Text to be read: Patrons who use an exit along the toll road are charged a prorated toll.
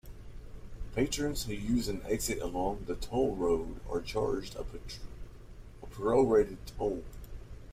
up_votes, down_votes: 1, 2